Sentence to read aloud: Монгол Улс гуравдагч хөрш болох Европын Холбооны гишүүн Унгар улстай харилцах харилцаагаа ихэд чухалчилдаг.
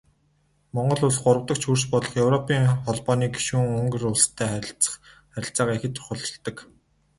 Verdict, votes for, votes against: rejected, 0, 2